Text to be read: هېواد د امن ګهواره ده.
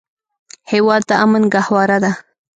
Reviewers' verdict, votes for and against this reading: rejected, 1, 2